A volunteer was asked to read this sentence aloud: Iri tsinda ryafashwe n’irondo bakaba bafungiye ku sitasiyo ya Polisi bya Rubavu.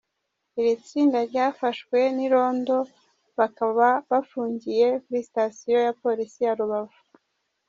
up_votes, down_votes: 1, 2